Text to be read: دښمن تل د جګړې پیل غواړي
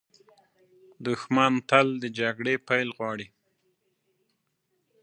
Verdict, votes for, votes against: accepted, 2, 0